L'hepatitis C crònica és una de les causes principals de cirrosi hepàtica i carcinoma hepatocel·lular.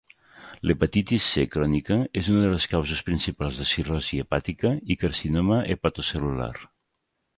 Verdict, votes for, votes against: accepted, 3, 0